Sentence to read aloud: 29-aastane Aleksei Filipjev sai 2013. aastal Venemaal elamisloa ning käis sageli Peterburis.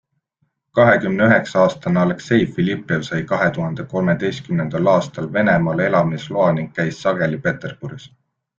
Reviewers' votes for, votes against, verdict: 0, 2, rejected